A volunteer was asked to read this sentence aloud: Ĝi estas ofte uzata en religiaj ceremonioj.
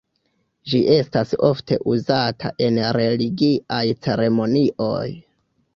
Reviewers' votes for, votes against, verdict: 0, 2, rejected